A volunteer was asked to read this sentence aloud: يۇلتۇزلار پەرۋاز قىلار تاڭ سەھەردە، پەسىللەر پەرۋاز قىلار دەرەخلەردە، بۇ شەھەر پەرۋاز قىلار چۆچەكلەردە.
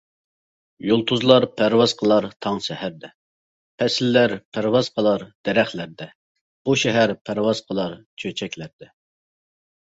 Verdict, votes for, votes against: accepted, 2, 0